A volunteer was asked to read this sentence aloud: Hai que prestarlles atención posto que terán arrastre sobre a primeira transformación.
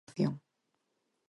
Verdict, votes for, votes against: rejected, 0, 4